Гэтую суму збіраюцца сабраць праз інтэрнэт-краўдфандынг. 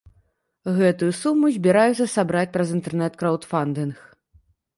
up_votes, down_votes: 3, 0